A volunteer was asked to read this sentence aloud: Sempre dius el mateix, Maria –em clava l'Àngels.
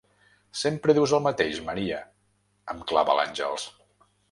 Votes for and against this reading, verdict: 3, 0, accepted